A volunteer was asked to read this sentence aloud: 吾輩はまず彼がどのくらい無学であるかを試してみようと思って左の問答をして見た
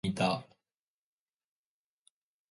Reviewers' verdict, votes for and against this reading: rejected, 0, 2